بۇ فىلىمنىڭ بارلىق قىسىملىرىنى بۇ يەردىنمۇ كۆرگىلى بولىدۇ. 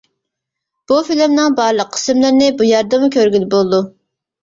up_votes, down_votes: 2, 0